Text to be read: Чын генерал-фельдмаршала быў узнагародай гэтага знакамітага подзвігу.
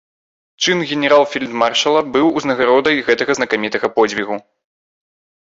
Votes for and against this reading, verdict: 2, 0, accepted